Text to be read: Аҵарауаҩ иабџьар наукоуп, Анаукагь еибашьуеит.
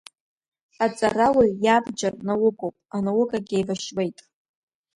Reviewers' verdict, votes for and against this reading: accepted, 2, 1